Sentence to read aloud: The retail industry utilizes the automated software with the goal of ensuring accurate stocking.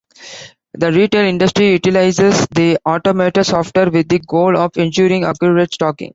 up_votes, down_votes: 2, 0